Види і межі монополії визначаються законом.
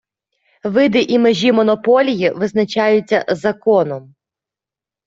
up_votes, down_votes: 0, 2